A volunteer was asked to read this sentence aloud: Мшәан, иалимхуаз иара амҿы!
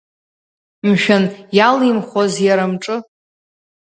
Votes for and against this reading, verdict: 2, 0, accepted